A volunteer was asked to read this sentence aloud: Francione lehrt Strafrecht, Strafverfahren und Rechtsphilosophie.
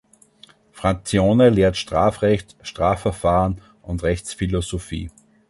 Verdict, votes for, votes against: rejected, 1, 2